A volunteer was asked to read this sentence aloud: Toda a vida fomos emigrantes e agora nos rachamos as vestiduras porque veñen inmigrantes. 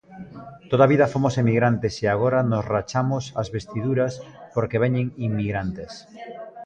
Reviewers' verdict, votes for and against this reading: rejected, 1, 2